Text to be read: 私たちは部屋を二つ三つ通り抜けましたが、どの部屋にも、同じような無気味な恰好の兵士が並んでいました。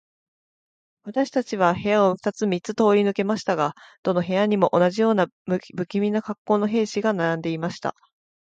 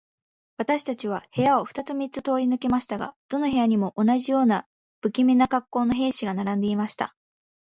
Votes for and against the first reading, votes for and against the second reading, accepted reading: 1, 3, 2, 0, second